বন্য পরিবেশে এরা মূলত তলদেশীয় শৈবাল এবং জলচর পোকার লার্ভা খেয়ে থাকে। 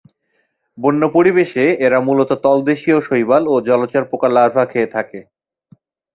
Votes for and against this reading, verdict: 8, 0, accepted